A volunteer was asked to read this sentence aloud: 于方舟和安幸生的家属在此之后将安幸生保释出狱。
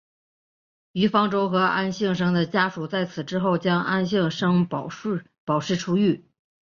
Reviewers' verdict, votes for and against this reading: rejected, 0, 3